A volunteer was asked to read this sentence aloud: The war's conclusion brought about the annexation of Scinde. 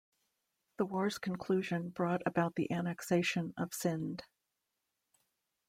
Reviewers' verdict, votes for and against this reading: accepted, 3, 0